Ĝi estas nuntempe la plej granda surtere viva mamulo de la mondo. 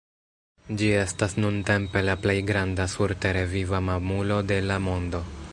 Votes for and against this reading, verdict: 2, 1, accepted